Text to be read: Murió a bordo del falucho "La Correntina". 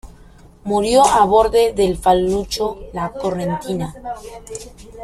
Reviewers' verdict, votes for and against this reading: rejected, 0, 2